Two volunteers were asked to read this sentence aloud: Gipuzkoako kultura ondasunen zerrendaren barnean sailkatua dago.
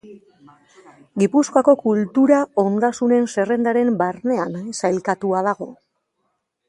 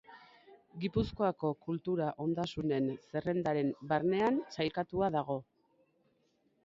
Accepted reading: first